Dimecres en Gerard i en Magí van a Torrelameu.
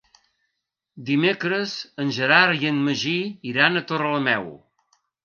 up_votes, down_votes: 0, 2